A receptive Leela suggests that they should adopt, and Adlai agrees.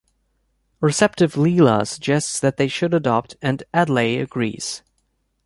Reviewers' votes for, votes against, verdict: 2, 0, accepted